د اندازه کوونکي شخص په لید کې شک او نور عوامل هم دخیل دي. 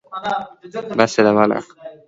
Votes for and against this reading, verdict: 2, 0, accepted